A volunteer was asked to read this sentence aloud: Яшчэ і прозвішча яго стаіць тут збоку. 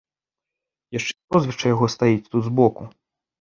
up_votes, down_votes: 0, 2